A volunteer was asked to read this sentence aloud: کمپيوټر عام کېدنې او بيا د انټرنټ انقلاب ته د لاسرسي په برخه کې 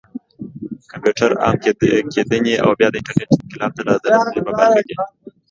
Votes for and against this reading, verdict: 1, 2, rejected